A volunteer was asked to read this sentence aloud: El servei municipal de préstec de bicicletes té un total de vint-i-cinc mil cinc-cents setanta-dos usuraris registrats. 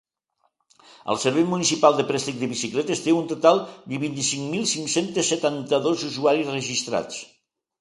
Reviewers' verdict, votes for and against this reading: rejected, 0, 2